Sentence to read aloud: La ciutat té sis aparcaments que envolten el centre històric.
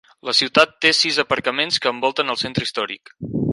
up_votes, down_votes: 4, 0